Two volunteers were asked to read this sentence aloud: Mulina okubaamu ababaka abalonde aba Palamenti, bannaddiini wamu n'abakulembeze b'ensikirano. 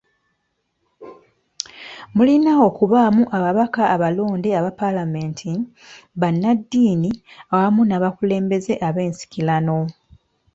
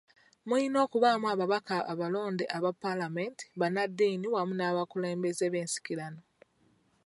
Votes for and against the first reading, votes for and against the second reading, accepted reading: 2, 1, 1, 2, first